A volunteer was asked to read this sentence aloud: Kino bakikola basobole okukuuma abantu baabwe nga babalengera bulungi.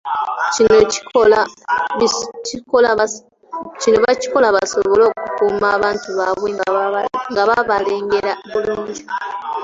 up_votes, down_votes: 1, 2